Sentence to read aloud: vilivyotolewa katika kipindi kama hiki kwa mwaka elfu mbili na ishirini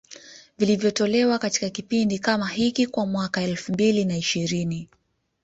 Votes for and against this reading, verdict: 2, 1, accepted